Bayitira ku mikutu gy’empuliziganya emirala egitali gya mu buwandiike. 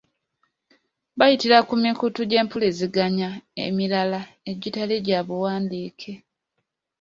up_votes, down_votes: 2, 0